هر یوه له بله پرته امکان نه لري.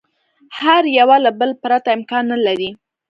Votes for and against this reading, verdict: 2, 0, accepted